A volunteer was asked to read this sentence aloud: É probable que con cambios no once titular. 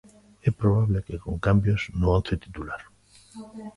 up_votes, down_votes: 0, 2